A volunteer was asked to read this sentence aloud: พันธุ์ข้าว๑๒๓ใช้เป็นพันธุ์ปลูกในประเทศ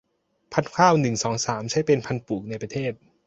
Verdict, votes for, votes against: rejected, 0, 2